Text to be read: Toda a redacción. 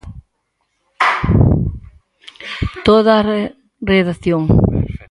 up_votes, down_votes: 0, 4